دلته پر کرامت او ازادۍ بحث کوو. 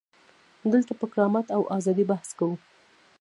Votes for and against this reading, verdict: 1, 2, rejected